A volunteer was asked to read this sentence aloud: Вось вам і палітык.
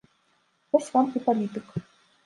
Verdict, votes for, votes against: accepted, 2, 0